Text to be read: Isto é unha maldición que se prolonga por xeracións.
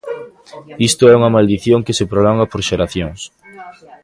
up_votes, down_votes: 1, 2